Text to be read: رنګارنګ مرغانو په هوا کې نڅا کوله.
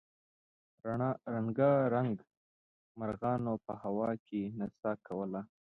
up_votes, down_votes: 0, 2